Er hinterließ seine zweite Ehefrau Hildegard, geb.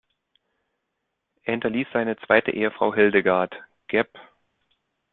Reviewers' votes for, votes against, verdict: 1, 2, rejected